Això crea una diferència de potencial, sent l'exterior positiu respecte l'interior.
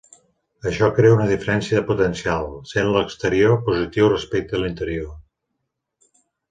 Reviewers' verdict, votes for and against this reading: accepted, 3, 1